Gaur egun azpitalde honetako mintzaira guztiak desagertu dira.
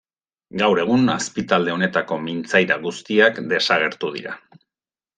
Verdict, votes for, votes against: accepted, 2, 0